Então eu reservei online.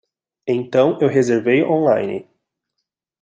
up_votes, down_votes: 2, 0